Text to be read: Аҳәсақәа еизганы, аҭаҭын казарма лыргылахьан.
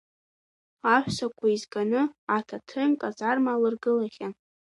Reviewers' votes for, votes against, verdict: 1, 2, rejected